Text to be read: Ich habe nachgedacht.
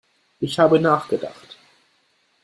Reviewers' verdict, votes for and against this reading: accepted, 2, 0